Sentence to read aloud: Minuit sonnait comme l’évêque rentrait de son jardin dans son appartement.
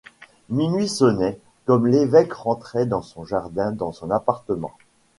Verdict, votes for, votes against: rejected, 1, 2